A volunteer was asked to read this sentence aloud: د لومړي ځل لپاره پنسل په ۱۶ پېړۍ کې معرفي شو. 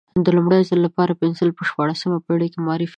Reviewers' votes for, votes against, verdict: 0, 2, rejected